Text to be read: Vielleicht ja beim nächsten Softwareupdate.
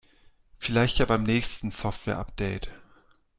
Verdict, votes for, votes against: accepted, 2, 0